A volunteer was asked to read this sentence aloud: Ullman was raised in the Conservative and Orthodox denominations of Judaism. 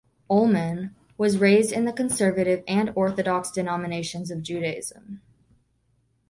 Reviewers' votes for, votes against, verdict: 2, 0, accepted